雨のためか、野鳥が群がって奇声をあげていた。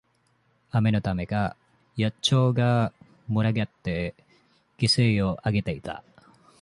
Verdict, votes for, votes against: rejected, 1, 2